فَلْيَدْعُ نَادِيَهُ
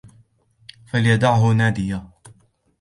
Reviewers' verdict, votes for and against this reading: rejected, 1, 2